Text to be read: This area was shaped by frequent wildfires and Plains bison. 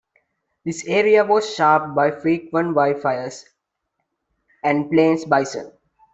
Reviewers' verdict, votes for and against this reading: rejected, 1, 2